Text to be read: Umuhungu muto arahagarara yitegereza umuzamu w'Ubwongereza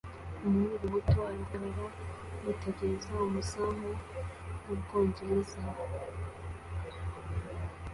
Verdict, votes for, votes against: accepted, 2, 0